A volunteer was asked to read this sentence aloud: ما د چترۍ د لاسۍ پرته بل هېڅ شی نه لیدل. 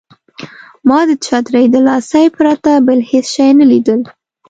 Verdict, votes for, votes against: accepted, 2, 0